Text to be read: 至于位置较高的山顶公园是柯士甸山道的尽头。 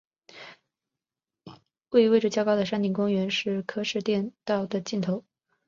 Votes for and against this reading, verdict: 0, 3, rejected